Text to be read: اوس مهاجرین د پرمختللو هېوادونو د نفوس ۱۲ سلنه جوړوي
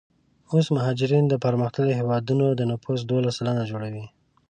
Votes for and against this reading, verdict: 0, 2, rejected